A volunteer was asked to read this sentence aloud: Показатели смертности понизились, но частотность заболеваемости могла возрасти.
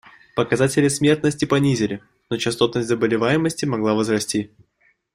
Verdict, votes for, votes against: rejected, 0, 2